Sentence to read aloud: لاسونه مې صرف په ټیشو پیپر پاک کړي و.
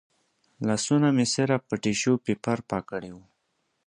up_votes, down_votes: 2, 0